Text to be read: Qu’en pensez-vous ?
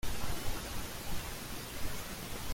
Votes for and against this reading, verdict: 0, 2, rejected